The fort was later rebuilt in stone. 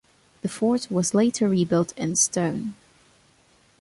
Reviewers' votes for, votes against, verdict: 2, 0, accepted